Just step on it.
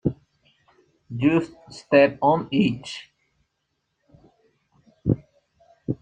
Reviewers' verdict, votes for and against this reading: rejected, 0, 2